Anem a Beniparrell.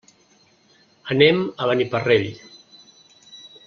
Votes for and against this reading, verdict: 2, 0, accepted